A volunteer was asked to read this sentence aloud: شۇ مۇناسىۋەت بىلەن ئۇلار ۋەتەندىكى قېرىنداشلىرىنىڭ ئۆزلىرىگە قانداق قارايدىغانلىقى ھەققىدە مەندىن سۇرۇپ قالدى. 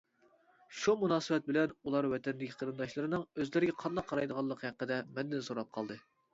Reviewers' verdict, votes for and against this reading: rejected, 1, 2